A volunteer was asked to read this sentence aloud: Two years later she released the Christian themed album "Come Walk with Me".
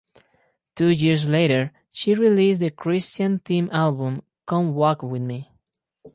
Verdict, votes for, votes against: accepted, 4, 0